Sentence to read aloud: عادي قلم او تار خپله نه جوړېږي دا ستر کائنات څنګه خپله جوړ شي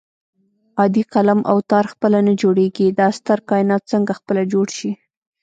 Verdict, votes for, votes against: accepted, 2, 1